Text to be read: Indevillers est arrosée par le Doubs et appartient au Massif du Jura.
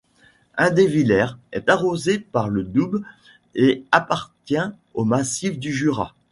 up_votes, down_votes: 3, 2